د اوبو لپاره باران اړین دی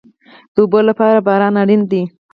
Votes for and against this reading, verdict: 4, 0, accepted